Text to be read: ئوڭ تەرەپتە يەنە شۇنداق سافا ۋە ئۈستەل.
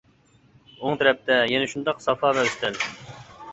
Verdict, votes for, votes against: rejected, 1, 2